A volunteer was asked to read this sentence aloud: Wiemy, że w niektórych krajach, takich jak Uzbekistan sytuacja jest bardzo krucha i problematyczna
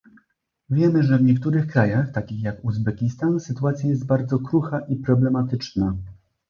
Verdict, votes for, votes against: accepted, 2, 0